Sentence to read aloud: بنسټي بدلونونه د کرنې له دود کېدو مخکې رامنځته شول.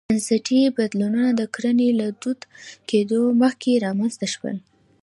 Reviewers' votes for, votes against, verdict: 2, 0, accepted